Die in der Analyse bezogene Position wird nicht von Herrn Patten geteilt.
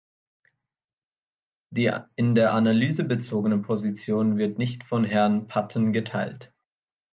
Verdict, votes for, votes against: rejected, 0, 2